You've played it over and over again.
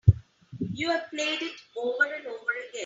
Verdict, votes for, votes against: accepted, 3, 0